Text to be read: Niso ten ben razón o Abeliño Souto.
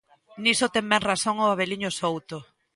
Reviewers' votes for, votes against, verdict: 3, 0, accepted